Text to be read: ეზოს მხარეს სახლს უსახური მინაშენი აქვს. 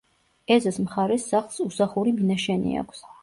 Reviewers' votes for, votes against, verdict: 2, 0, accepted